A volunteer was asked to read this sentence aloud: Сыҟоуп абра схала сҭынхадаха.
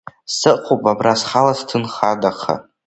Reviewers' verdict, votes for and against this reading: accepted, 2, 1